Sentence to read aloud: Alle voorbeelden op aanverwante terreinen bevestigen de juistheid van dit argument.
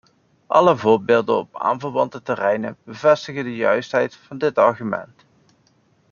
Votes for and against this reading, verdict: 2, 0, accepted